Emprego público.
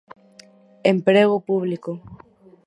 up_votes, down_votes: 2, 2